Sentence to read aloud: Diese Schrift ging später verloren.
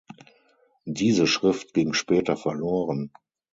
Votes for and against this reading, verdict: 6, 0, accepted